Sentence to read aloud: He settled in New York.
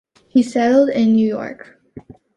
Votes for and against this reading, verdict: 2, 0, accepted